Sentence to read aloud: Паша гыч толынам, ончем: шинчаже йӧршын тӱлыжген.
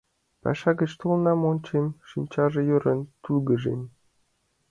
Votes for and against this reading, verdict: 1, 2, rejected